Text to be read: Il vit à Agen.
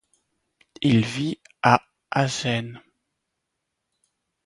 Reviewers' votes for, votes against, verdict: 0, 2, rejected